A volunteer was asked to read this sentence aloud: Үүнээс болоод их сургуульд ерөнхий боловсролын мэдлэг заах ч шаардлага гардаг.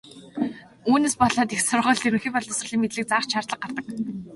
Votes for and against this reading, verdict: 3, 1, accepted